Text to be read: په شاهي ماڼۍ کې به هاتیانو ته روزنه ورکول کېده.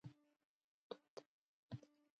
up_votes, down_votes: 1, 2